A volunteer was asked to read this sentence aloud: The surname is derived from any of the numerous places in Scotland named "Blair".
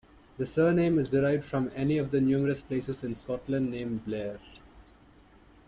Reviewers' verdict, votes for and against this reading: accepted, 2, 0